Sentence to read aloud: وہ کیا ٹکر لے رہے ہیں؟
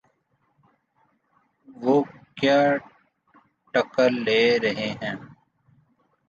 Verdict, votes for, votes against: accepted, 3, 0